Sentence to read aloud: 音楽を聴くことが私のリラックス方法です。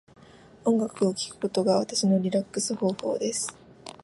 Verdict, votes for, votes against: accepted, 2, 0